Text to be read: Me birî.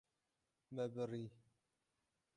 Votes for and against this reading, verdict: 0, 6, rejected